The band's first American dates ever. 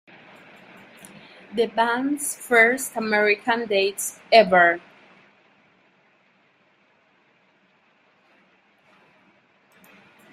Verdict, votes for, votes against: rejected, 0, 2